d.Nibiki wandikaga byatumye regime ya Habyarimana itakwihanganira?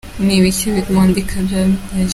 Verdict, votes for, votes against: rejected, 0, 3